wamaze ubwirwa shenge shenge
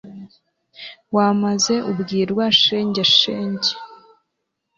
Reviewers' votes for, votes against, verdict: 2, 0, accepted